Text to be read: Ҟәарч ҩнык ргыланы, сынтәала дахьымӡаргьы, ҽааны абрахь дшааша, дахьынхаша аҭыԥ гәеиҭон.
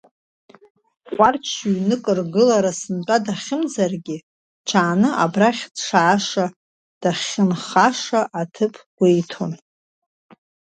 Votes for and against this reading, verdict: 0, 2, rejected